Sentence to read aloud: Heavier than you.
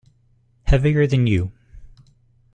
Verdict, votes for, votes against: accepted, 2, 0